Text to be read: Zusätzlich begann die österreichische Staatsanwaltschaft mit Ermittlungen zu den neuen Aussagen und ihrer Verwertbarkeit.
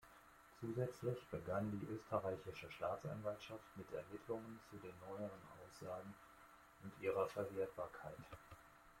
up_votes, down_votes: 0, 2